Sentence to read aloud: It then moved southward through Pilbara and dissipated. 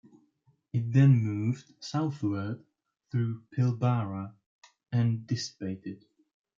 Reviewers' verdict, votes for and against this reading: accepted, 2, 1